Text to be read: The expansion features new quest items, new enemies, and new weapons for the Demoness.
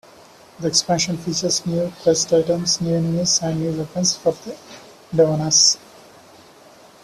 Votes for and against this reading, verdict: 0, 2, rejected